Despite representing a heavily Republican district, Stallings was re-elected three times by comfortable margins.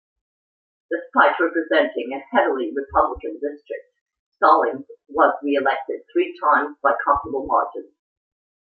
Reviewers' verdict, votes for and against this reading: accepted, 2, 0